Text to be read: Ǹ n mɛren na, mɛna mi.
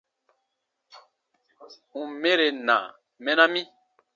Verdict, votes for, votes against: accepted, 2, 0